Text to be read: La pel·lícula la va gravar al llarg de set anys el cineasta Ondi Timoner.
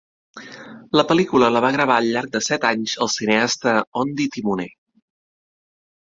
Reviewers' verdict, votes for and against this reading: accepted, 2, 0